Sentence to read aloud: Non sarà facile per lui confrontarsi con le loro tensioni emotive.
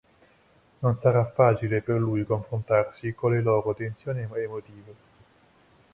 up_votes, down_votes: 1, 2